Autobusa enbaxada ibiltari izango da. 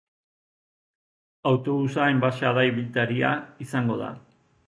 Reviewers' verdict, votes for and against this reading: rejected, 2, 6